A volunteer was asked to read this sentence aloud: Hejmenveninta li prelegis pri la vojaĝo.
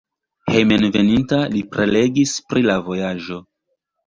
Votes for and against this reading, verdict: 1, 2, rejected